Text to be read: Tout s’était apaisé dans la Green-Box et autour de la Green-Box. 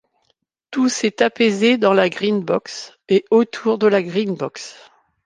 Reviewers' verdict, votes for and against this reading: rejected, 0, 2